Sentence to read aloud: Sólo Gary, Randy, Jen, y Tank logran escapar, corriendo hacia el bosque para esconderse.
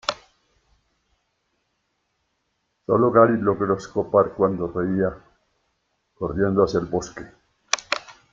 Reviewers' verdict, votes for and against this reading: rejected, 0, 2